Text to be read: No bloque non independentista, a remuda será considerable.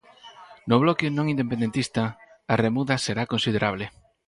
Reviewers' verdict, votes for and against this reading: accepted, 4, 0